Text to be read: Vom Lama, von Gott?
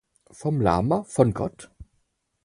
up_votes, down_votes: 4, 0